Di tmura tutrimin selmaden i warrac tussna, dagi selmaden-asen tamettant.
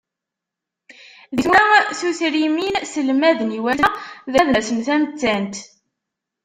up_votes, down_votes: 0, 2